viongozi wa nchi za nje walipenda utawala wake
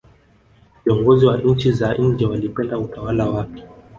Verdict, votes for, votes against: rejected, 1, 2